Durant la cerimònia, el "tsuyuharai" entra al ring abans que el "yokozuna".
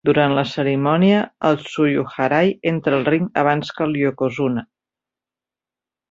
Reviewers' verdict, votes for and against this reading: accepted, 2, 0